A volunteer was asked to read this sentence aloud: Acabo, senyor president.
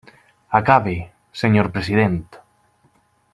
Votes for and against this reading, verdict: 0, 2, rejected